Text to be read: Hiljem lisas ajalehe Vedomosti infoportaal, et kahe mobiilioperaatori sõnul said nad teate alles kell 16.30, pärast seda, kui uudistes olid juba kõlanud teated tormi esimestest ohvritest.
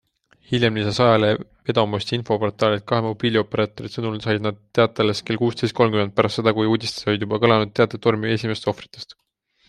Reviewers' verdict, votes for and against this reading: rejected, 0, 2